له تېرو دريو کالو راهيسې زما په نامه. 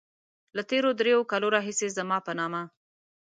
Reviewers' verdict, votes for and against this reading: accepted, 2, 0